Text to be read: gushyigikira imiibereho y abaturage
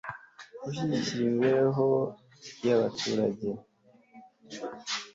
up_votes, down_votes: 2, 1